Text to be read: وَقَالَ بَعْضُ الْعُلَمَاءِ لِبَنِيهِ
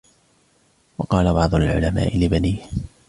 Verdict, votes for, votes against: accepted, 2, 0